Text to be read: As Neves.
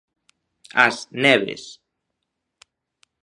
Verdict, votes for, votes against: accepted, 2, 0